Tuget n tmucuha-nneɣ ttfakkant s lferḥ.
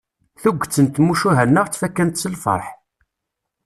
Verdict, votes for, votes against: accepted, 2, 0